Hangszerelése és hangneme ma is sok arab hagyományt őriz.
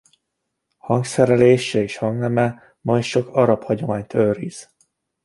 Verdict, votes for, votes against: rejected, 1, 2